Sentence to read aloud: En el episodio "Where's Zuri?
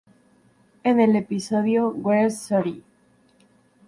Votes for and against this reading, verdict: 2, 0, accepted